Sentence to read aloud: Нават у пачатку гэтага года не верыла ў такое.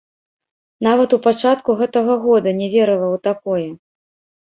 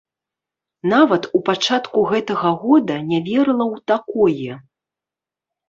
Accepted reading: first